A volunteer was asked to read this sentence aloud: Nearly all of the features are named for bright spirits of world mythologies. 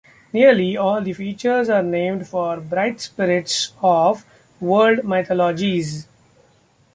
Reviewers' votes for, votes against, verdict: 1, 2, rejected